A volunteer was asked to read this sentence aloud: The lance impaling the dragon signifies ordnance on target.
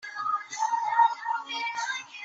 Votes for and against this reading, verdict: 0, 2, rejected